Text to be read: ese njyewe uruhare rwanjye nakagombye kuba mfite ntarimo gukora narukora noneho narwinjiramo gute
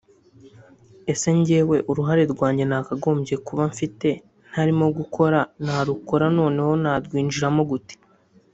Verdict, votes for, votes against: accepted, 2, 0